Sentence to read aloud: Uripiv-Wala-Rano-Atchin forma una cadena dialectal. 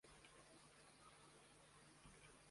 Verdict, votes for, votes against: rejected, 0, 2